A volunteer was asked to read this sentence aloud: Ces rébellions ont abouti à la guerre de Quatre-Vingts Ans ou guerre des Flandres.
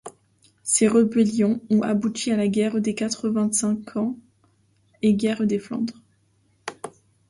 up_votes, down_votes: 1, 2